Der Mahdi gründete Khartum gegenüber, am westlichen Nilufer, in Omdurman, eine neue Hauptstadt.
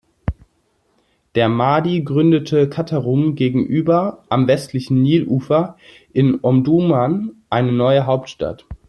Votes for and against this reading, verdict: 0, 2, rejected